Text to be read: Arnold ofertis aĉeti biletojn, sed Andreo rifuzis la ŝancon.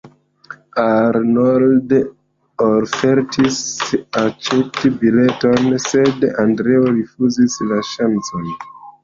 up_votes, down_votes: 0, 2